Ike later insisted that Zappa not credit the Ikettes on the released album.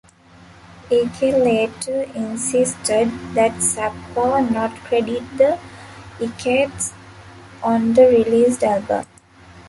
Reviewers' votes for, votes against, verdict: 0, 2, rejected